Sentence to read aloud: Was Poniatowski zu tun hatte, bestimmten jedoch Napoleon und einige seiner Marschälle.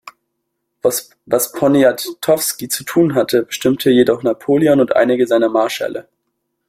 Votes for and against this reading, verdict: 0, 2, rejected